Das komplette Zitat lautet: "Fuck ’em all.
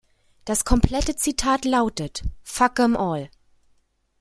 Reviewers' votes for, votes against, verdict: 2, 0, accepted